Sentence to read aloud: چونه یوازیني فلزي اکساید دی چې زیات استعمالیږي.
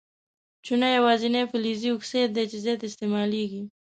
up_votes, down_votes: 2, 0